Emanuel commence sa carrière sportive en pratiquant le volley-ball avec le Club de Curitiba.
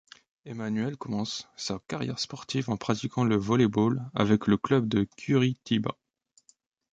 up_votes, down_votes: 2, 0